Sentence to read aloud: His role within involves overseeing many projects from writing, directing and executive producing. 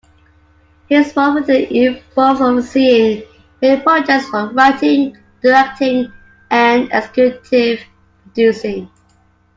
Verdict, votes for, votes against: rejected, 0, 2